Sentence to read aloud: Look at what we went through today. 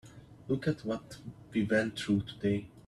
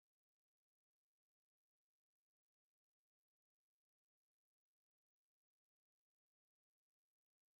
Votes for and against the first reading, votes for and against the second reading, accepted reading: 3, 0, 0, 2, first